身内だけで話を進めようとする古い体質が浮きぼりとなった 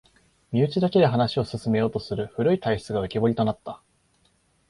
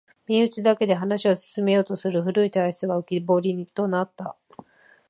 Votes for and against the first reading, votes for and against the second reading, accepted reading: 2, 0, 1, 2, first